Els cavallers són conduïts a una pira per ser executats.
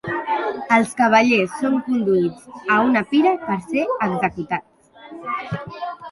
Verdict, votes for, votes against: accepted, 3, 1